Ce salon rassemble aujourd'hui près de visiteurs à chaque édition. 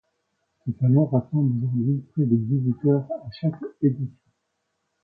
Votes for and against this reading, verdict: 1, 2, rejected